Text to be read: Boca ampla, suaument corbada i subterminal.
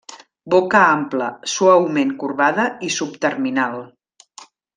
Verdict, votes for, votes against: accepted, 3, 0